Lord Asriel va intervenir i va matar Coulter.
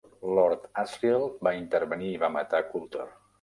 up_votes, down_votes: 3, 0